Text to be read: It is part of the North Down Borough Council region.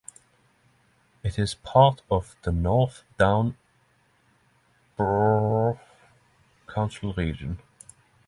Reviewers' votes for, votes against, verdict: 0, 3, rejected